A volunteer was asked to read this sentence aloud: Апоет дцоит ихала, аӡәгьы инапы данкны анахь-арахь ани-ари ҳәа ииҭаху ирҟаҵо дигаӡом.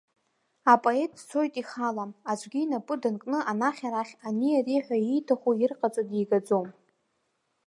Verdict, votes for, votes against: accepted, 2, 0